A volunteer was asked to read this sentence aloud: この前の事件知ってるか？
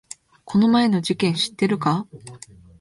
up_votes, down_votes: 2, 0